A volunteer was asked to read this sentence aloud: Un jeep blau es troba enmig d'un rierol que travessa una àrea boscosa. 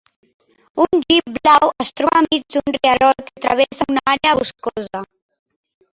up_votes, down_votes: 1, 4